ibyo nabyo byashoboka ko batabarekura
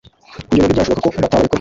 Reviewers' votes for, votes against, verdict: 0, 2, rejected